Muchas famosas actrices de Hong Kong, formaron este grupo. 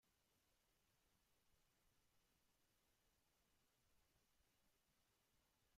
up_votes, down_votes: 0, 2